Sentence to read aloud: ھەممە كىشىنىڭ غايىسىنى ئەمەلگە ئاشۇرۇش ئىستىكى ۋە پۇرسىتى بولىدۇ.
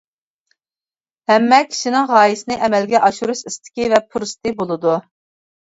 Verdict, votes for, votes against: accepted, 2, 0